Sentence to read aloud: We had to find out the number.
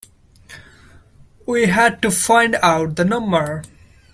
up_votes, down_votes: 1, 2